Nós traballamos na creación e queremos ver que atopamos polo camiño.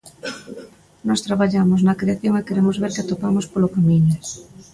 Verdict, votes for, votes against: rejected, 0, 2